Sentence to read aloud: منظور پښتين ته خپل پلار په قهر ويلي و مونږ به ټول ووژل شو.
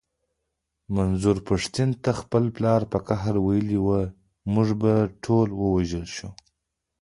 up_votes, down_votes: 1, 2